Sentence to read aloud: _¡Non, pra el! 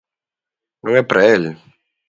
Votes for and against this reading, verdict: 1, 2, rejected